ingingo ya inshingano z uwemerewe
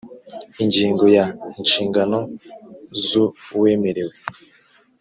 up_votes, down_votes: 2, 0